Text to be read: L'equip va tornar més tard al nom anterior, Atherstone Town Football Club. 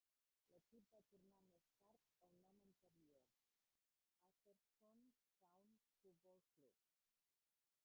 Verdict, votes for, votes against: rejected, 0, 2